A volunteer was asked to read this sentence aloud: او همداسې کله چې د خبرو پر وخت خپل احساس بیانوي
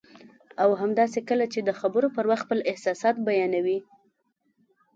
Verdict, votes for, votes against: accepted, 2, 0